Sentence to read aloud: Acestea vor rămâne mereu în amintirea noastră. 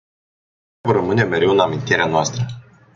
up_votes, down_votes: 0, 2